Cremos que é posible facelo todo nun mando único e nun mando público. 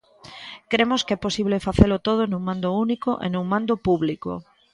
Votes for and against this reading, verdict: 2, 0, accepted